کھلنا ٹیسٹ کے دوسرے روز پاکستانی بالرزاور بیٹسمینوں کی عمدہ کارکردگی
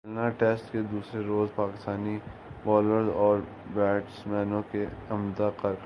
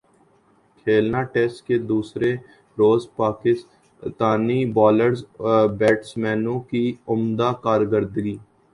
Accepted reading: second